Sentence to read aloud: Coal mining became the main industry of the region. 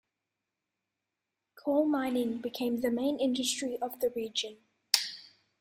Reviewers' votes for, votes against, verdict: 3, 0, accepted